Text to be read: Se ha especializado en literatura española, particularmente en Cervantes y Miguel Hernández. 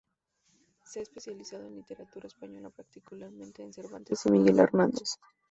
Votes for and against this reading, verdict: 2, 2, rejected